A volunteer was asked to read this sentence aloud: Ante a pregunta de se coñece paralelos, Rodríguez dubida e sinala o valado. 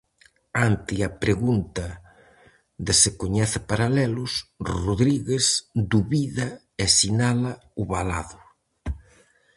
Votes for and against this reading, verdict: 4, 0, accepted